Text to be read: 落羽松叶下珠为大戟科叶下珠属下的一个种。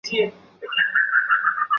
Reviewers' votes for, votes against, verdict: 0, 6, rejected